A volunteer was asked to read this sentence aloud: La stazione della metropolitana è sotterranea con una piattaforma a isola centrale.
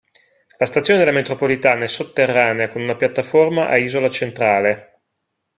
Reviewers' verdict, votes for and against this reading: accepted, 2, 0